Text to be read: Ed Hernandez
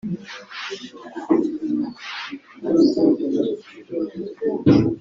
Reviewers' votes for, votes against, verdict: 1, 2, rejected